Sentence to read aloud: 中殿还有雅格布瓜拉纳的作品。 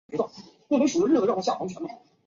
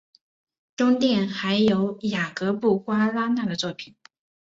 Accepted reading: second